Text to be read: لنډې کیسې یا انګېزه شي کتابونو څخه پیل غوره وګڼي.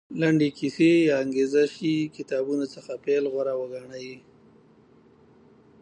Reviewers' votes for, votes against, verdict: 2, 0, accepted